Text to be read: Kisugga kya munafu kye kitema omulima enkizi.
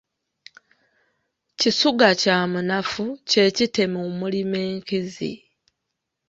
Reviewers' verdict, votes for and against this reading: rejected, 1, 2